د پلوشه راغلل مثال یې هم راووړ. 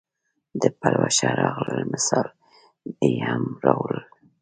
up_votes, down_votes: 2, 0